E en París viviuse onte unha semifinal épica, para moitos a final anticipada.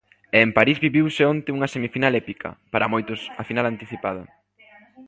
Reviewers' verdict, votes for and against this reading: rejected, 1, 2